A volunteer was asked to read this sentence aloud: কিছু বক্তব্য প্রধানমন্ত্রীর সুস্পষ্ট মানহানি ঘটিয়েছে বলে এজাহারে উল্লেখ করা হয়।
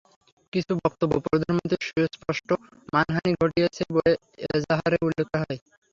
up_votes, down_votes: 3, 0